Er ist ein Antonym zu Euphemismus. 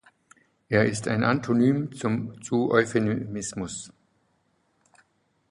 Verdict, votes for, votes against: rejected, 0, 2